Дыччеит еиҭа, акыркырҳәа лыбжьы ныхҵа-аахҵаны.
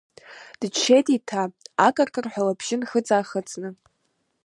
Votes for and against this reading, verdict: 0, 2, rejected